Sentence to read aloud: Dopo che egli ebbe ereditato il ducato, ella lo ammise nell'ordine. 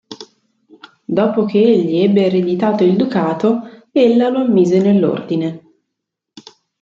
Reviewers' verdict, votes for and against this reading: accepted, 2, 0